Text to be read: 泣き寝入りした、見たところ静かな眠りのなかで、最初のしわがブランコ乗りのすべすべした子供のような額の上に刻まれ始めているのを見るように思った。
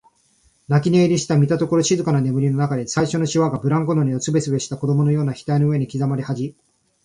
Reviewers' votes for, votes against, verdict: 1, 2, rejected